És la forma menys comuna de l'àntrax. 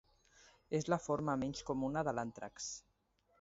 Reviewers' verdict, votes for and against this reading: accepted, 2, 0